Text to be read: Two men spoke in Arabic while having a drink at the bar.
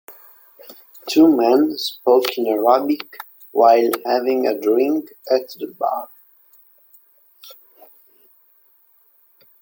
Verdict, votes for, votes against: rejected, 1, 2